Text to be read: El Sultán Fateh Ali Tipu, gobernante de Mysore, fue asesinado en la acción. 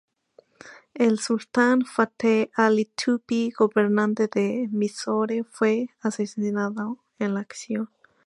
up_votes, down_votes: 2, 0